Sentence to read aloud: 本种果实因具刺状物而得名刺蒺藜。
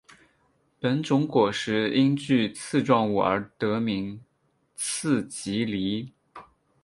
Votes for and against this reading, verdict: 2, 0, accepted